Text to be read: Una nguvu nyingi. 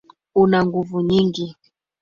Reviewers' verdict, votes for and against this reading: rejected, 1, 2